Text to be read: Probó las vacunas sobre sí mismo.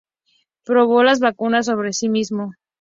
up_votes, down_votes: 2, 0